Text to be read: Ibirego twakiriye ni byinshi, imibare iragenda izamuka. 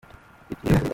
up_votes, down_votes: 0, 2